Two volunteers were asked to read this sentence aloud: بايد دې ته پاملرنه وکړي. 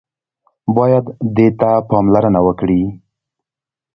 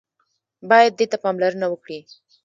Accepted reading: first